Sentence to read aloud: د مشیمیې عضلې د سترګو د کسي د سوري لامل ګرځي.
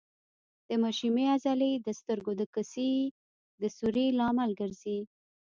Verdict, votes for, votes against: rejected, 1, 2